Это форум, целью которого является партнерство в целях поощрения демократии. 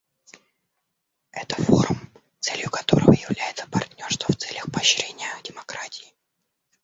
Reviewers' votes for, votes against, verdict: 0, 2, rejected